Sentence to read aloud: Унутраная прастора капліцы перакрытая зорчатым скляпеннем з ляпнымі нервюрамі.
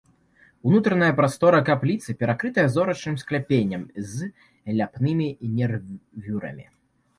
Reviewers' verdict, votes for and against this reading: rejected, 0, 2